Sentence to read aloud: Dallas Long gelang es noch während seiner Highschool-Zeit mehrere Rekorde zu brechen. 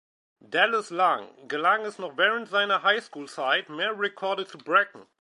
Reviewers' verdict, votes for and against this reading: rejected, 1, 2